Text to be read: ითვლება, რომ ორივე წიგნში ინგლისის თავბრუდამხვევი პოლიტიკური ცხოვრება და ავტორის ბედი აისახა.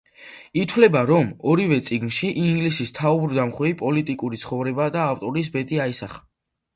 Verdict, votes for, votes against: accepted, 2, 0